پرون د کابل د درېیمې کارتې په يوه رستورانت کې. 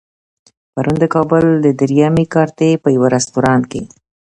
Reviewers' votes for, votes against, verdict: 2, 0, accepted